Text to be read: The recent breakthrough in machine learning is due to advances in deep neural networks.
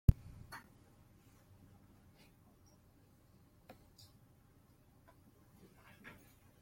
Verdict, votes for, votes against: rejected, 0, 2